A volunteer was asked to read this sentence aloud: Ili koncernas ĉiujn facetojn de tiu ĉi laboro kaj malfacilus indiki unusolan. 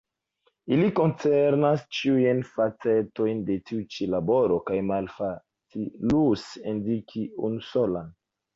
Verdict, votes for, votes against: accepted, 2, 1